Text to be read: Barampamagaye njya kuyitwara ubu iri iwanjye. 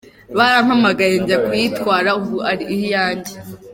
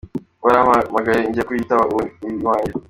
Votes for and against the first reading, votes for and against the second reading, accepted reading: 2, 1, 1, 2, first